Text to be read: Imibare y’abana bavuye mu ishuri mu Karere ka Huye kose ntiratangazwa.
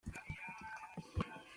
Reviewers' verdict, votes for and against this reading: rejected, 0, 2